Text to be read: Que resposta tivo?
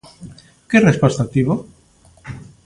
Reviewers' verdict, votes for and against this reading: accepted, 2, 0